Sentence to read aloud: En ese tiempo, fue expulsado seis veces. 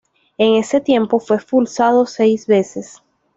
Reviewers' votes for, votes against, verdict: 1, 2, rejected